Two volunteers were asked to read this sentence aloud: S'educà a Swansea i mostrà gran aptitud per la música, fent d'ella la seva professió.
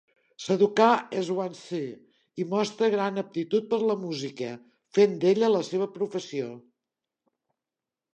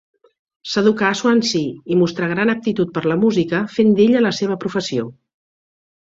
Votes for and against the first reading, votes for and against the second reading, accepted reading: 1, 2, 3, 0, second